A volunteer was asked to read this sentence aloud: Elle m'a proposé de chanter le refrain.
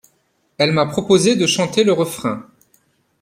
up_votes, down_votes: 2, 0